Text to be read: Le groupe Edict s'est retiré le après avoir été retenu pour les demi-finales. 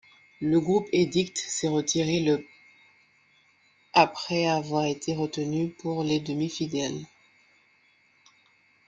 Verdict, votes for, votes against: rejected, 0, 2